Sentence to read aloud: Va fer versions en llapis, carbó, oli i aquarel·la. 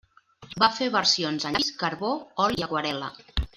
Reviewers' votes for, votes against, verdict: 0, 2, rejected